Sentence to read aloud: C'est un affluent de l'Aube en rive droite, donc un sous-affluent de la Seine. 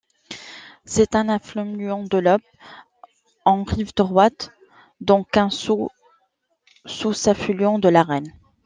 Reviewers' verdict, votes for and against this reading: rejected, 0, 2